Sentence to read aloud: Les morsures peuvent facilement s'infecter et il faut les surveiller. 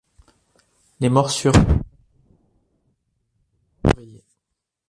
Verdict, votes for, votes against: rejected, 0, 2